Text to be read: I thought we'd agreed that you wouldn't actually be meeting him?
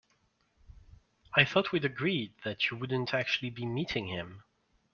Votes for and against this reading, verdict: 2, 0, accepted